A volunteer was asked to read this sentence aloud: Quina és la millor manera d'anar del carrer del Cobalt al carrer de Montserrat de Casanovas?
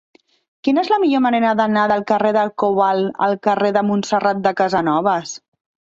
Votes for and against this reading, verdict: 3, 1, accepted